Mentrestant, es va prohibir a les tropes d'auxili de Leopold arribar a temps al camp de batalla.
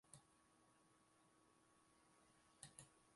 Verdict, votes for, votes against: rejected, 0, 2